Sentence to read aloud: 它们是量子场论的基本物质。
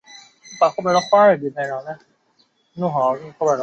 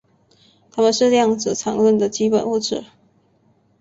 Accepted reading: second